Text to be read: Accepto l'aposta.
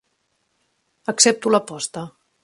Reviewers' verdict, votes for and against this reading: accepted, 3, 0